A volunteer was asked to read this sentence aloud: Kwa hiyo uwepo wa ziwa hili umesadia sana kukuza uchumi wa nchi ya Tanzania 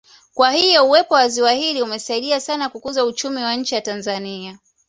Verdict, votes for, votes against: accepted, 2, 0